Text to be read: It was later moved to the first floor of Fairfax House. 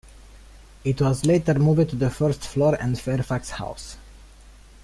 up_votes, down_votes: 0, 2